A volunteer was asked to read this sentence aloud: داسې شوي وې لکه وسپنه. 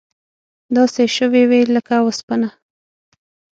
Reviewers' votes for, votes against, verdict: 6, 0, accepted